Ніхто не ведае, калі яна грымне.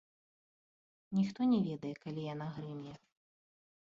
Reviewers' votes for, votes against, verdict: 2, 1, accepted